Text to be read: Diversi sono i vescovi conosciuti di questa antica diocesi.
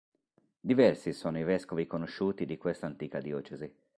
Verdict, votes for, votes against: accepted, 2, 1